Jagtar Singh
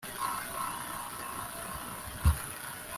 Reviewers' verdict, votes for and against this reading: rejected, 0, 2